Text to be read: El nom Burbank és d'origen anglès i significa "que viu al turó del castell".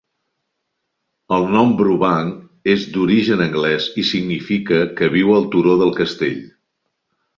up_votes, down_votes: 0, 2